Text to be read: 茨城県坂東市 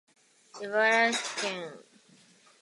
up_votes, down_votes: 0, 2